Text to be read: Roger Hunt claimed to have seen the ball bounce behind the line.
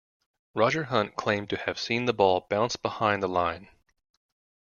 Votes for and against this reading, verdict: 2, 0, accepted